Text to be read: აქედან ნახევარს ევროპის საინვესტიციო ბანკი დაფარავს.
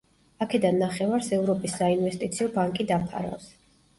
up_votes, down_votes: 2, 0